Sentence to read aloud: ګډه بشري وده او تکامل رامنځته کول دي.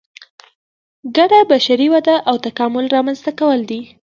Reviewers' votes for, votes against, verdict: 2, 0, accepted